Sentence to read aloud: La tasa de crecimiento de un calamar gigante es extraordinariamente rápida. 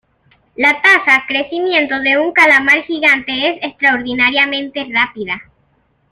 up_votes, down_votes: 2, 0